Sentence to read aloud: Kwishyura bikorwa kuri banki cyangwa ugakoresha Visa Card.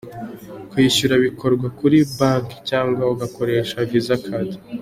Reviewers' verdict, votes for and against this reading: accepted, 2, 0